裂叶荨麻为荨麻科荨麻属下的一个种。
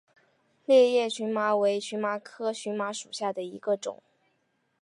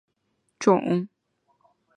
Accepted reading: first